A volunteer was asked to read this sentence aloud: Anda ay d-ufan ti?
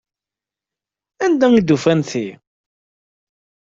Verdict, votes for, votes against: accepted, 2, 0